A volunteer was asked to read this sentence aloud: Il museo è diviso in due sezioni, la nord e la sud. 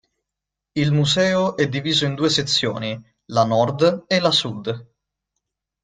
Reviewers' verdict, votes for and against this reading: rejected, 0, 2